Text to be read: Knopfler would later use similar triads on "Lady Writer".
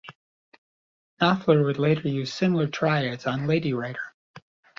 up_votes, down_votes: 2, 0